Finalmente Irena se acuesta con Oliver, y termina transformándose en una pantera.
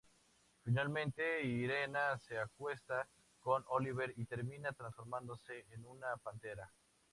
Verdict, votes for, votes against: accepted, 2, 0